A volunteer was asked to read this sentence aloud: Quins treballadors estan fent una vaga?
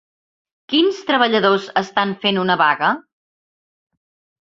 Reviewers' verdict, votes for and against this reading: accepted, 3, 0